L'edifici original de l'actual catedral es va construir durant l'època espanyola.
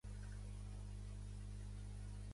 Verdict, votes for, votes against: rejected, 0, 2